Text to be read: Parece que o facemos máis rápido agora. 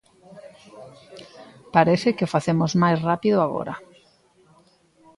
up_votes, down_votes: 2, 0